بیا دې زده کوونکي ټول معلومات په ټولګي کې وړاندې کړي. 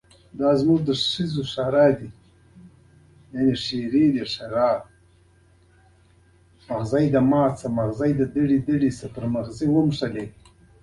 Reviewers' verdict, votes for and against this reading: rejected, 1, 2